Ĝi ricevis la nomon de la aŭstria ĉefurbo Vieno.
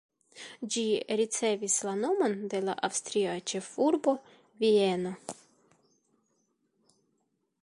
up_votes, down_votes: 0, 2